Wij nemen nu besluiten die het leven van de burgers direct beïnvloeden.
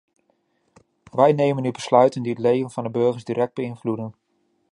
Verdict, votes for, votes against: accepted, 2, 0